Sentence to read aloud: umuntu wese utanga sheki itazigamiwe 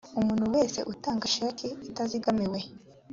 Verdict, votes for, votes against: accepted, 2, 0